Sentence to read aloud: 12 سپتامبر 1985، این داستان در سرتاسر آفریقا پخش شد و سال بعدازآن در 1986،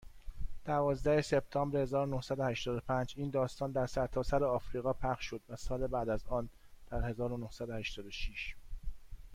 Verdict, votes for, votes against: rejected, 0, 2